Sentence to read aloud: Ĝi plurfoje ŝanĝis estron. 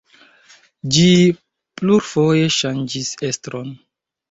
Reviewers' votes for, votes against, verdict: 1, 3, rejected